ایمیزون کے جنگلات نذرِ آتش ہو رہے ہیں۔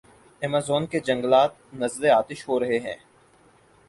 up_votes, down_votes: 4, 0